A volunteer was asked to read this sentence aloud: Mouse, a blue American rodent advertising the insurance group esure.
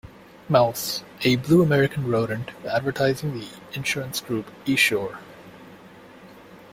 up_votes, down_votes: 2, 0